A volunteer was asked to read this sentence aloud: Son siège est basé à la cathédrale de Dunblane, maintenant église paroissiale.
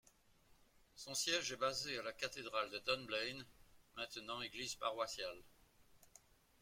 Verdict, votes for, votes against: accepted, 2, 1